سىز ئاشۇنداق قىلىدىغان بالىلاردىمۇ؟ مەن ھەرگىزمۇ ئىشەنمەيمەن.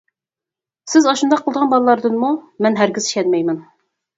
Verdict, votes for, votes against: rejected, 0, 4